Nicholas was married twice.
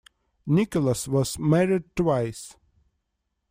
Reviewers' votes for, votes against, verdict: 1, 2, rejected